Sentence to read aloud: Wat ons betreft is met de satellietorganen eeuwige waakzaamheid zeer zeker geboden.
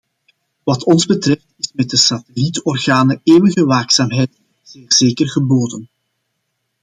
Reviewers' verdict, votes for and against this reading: rejected, 0, 2